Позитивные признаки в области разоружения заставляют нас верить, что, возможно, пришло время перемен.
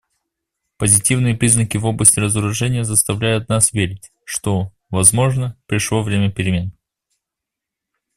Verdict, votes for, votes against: accepted, 2, 0